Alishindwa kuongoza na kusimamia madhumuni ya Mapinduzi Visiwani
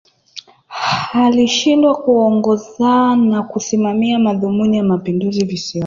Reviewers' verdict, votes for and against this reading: accepted, 5, 0